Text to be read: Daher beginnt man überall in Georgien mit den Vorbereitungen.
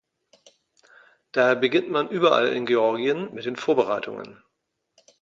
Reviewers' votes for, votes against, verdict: 2, 0, accepted